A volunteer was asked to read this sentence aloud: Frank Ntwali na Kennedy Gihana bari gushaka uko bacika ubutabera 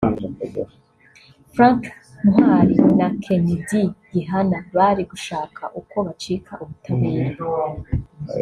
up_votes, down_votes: 0, 2